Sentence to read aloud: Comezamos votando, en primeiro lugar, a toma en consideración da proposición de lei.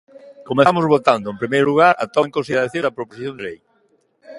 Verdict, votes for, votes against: rejected, 0, 2